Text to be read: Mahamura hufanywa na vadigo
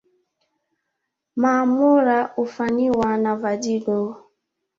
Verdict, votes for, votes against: rejected, 1, 2